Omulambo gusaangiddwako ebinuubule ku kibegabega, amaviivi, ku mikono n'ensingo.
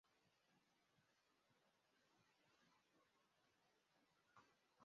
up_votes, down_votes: 0, 2